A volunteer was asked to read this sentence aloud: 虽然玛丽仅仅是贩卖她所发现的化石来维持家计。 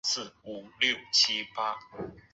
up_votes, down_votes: 0, 2